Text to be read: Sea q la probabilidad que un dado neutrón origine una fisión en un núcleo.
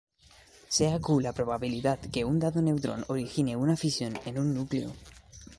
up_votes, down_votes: 2, 1